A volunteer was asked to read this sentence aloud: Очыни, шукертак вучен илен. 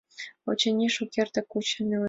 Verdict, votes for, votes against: rejected, 0, 3